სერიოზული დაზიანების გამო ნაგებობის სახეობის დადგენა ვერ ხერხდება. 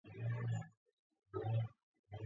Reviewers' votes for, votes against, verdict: 0, 2, rejected